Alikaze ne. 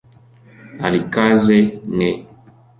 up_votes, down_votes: 2, 0